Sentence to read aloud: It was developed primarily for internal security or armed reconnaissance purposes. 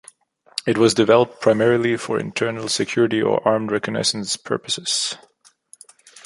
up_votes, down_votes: 2, 0